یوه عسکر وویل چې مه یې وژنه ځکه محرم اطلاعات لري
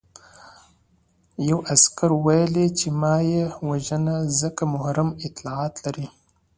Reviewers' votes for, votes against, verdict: 2, 0, accepted